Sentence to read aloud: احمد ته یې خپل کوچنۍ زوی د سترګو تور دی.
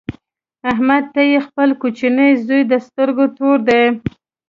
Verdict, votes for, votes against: accepted, 2, 0